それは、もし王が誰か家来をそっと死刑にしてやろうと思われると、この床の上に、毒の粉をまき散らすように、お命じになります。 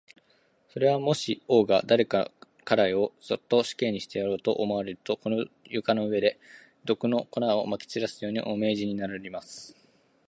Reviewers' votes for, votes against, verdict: 1, 2, rejected